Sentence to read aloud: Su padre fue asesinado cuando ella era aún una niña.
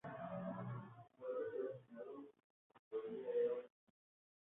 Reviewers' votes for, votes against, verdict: 0, 4, rejected